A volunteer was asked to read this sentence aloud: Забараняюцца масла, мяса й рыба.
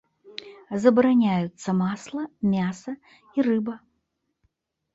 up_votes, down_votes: 2, 0